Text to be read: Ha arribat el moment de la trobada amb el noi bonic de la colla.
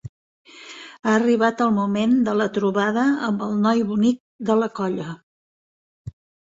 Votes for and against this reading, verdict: 4, 0, accepted